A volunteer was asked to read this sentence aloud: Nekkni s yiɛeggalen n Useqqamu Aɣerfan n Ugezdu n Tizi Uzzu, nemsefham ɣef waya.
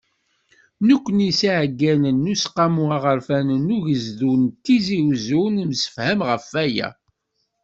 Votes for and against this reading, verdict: 2, 0, accepted